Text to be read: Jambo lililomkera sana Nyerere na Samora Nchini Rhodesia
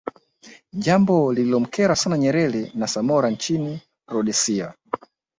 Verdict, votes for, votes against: accepted, 2, 0